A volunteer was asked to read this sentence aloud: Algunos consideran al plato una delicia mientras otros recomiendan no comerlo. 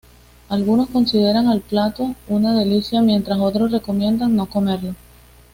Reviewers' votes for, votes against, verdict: 2, 0, accepted